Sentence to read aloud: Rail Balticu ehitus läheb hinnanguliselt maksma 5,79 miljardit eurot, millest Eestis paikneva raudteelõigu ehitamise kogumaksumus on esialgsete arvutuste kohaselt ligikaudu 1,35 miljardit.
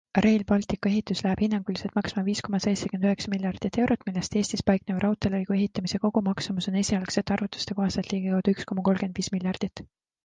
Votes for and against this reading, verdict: 0, 2, rejected